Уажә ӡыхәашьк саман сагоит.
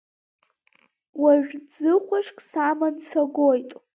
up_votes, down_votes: 2, 0